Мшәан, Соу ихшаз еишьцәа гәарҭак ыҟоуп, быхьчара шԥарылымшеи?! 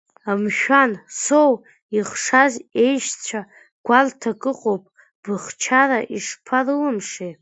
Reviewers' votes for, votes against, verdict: 2, 0, accepted